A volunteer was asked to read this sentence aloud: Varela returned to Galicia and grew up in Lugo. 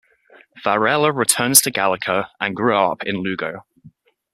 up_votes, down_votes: 1, 2